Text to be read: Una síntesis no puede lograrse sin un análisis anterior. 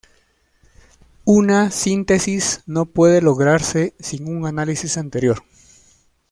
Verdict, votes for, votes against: accepted, 2, 0